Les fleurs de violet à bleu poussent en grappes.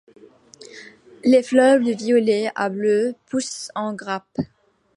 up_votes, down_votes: 2, 1